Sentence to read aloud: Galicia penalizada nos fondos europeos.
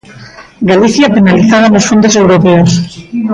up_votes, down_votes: 1, 2